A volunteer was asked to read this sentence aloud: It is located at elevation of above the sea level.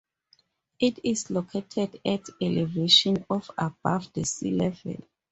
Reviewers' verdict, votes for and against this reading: accepted, 2, 0